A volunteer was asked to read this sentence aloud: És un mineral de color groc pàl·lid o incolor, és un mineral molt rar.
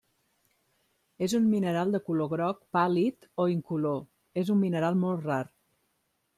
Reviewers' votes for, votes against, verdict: 3, 1, accepted